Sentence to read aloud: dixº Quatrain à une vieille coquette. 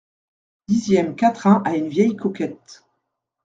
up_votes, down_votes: 0, 2